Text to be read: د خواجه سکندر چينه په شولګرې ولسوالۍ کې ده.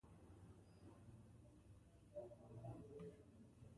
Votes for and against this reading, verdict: 0, 2, rejected